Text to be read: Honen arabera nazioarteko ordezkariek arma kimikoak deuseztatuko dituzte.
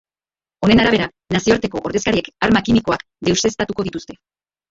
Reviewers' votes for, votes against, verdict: 0, 2, rejected